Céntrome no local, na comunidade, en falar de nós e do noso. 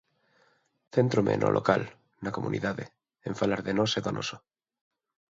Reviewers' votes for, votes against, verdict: 2, 0, accepted